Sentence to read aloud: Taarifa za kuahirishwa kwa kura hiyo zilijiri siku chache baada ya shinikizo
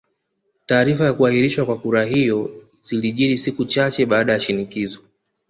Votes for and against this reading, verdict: 2, 0, accepted